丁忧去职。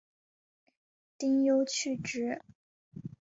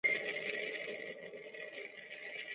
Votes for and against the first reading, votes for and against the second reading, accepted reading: 2, 0, 0, 2, first